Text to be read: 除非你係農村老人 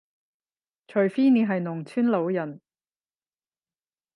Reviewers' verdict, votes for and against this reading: rejected, 5, 10